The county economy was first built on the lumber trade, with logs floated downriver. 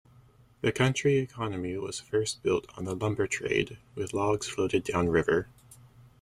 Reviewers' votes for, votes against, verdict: 1, 2, rejected